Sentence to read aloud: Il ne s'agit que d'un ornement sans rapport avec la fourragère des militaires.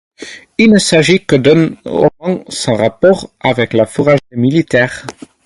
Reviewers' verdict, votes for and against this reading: accepted, 4, 0